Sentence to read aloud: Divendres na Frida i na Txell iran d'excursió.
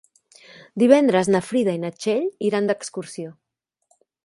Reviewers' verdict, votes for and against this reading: accepted, 3, 0